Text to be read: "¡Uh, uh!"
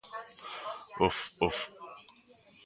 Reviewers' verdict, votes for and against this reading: rejected, 1, 2